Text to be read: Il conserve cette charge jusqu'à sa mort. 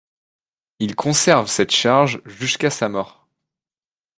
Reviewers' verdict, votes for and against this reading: accepted, 2, 0